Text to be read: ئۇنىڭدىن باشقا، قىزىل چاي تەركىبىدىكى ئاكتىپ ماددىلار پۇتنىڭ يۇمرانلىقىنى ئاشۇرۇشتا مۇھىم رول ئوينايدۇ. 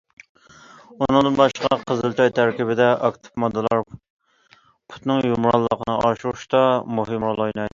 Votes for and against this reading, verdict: 0, 2, rejected